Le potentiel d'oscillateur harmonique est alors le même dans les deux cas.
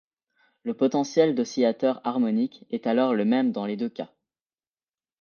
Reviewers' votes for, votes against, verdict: 2, 0, accepted